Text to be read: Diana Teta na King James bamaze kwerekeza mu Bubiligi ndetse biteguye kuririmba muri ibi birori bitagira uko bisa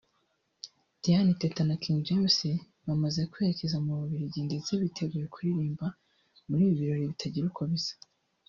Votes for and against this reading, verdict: 2, 0, accepted